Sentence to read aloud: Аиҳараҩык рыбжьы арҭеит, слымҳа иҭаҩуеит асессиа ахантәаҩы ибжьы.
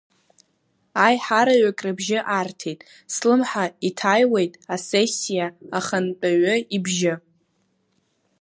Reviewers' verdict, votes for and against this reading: rejected, 1, 2